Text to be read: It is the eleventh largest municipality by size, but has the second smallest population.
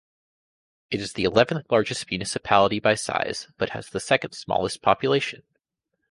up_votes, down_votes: 2, 0